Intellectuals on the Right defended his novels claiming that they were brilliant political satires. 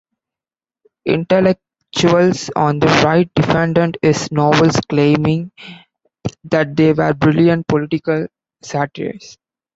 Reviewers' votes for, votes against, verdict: 2, 1, accepted